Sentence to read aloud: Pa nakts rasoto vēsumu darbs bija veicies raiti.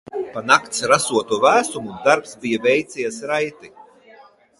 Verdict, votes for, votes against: accepted, 2, 0